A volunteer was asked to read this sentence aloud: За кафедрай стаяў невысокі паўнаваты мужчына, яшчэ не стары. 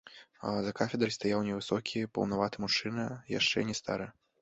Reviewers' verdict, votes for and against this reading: rejected, 1, 2